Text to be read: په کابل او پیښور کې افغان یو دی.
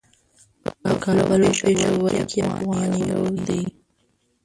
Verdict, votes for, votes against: rejected, 1, 2